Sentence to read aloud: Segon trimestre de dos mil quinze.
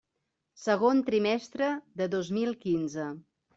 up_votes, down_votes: 3, 0